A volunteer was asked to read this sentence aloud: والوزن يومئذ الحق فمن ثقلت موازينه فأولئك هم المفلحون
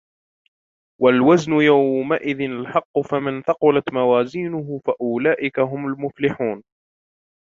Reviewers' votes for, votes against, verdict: 2, 1, accepted